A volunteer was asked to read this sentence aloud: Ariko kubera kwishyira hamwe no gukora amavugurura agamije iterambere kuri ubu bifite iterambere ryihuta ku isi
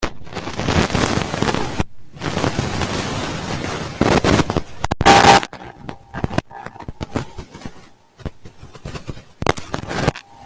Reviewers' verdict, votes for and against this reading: rejected, 0, 2